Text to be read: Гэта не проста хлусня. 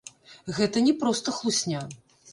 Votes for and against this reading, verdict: 0, 2, rejected